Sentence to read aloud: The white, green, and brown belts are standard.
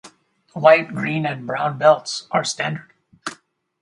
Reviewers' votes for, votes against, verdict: 2, 4, rejected